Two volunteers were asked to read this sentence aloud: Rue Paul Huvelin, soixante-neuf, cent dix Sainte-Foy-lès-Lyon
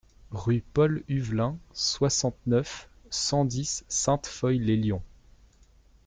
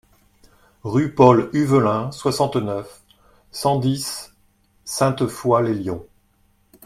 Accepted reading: second